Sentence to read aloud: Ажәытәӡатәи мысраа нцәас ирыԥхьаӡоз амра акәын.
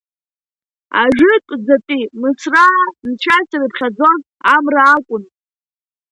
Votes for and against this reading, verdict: 2, 0, accepted